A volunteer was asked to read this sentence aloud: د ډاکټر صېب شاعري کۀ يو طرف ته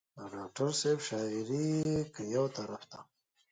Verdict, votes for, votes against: accepted, 2, 0